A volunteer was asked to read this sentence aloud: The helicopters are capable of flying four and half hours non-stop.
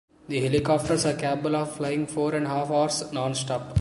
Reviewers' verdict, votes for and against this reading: rejected, 1, 2